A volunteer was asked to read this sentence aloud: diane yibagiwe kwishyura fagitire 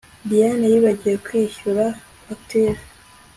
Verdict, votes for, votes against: accepted, 2, 0